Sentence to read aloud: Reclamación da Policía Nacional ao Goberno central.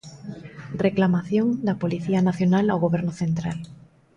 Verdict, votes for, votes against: accepted, 2, 0